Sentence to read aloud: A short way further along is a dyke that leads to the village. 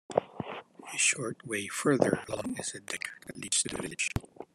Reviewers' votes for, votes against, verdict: 1, 2, rejected